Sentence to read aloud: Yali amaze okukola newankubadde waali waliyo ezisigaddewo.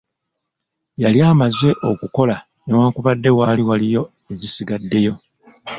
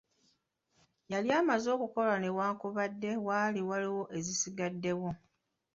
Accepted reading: second